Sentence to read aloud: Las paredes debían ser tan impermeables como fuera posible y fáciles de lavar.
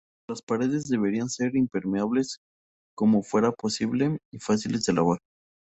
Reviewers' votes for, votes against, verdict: 0, 2, rejected